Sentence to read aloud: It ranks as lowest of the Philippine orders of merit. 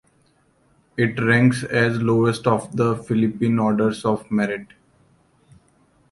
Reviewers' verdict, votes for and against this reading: accepted, 2, 0